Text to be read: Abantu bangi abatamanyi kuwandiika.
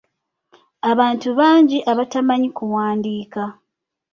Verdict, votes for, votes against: accepted, 2, 0